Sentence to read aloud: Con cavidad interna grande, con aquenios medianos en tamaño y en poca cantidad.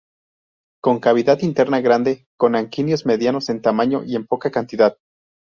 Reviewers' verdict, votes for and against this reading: rejected, 0, 2